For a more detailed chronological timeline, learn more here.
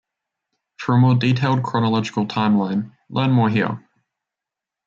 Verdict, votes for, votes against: accepted, 2, 0